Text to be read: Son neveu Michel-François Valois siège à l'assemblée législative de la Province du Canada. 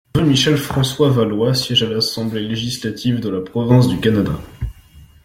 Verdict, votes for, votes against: rejected, 1, 2